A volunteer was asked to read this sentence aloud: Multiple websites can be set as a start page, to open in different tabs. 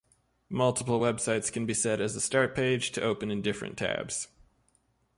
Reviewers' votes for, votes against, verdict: 2, 0, accepted